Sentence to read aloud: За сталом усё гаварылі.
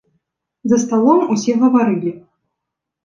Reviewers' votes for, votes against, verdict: 0, 3, rejected